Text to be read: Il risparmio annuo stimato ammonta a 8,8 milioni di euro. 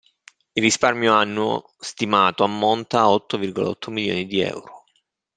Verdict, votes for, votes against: rejected, 0, 2